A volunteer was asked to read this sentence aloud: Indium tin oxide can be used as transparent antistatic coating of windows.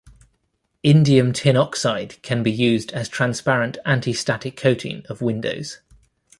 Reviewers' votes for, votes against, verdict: 2, 0, accepted